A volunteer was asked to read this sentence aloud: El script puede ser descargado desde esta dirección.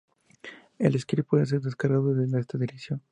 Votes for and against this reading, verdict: 2, 0, accepted